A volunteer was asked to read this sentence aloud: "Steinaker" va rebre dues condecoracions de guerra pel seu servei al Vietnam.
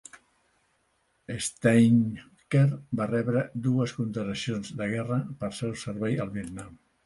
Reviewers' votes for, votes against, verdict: 0, 2, rejected